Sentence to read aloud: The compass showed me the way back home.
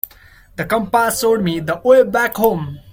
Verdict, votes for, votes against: rejected, 1, 2